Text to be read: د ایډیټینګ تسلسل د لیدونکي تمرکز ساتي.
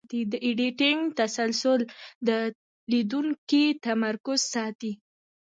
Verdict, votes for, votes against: accepted, 2, 0